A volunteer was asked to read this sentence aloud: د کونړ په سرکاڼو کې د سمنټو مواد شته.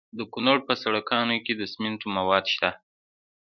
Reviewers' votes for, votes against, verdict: 2, 0, accepted